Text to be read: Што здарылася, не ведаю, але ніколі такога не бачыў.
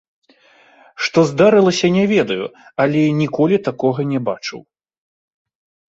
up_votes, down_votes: 2, 0